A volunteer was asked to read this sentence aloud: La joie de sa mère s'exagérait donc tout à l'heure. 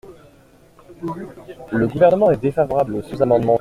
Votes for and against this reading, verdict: 0, 2, rejected